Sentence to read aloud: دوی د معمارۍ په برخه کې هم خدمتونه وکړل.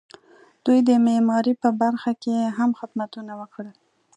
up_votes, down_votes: 2, 0